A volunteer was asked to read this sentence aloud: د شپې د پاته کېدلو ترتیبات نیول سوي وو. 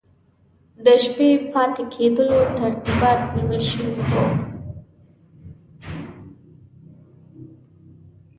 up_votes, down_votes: 2, 0